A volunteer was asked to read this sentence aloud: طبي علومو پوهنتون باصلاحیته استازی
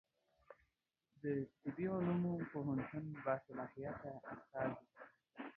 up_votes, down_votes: 0, 2